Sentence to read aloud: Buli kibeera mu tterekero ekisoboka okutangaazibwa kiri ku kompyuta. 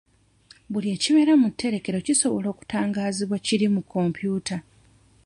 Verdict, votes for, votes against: rejected, 0, 2